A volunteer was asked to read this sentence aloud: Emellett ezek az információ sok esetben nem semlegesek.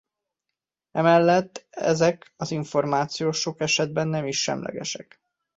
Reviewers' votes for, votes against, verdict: 1, 2, rejected